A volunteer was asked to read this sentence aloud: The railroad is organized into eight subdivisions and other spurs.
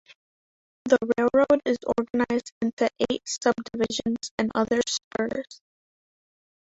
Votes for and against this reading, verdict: 0, 3, rejected